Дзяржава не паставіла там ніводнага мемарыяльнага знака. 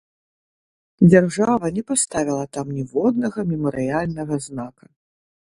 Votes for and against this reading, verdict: 2, 0, accepted